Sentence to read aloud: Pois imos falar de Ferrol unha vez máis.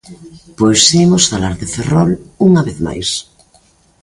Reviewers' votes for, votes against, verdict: 1, 2, rejected